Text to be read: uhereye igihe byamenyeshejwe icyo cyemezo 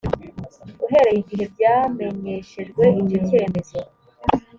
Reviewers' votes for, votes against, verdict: 3, 0, accepted